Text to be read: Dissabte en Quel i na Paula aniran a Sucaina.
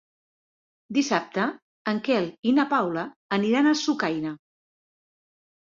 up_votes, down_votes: 2, 0